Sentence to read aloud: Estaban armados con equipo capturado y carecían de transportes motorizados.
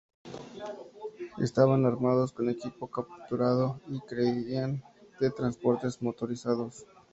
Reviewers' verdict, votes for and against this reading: accepted, 2, 0